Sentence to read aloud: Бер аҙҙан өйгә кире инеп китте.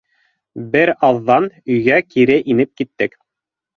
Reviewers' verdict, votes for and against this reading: rejected, 1, 2